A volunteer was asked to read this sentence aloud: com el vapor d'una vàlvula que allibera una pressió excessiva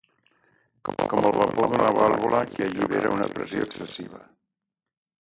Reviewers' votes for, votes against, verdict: 0, 2, rejected